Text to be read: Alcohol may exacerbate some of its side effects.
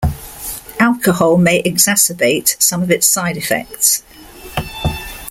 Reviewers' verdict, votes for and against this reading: accepted, 2, 0